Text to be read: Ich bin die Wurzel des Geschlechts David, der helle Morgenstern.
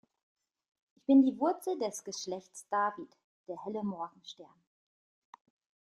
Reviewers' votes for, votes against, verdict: 0, 2, rejected